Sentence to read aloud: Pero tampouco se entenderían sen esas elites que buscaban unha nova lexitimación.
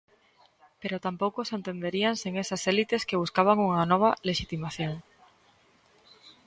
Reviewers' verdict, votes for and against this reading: rejected, 0, 2